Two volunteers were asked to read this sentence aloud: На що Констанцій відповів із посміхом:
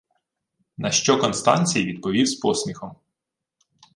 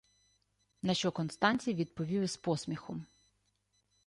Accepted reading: second